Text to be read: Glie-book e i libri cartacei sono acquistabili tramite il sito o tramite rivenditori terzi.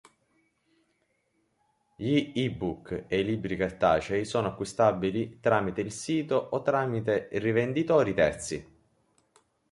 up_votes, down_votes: 3, 0